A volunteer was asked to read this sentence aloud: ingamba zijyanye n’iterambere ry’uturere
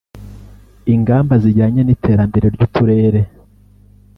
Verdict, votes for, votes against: accepted, 2, 0